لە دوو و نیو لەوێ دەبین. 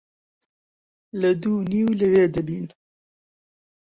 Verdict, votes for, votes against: accepted, 2, 0